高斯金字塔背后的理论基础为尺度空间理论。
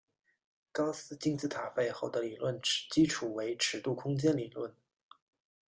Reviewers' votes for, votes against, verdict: 1, 2, rejected